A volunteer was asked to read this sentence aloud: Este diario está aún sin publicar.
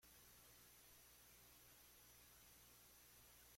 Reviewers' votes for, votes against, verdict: 0, 2, rejected